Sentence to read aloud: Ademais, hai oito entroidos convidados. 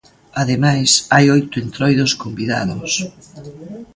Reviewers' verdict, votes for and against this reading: rejected, 0, 2